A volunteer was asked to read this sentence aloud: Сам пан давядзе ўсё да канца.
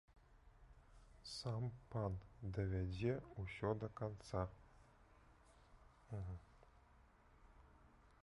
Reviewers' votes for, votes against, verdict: 1, 2, rejected